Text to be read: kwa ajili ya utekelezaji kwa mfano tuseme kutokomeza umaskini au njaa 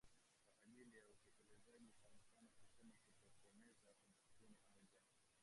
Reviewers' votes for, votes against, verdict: 0, 3, rejected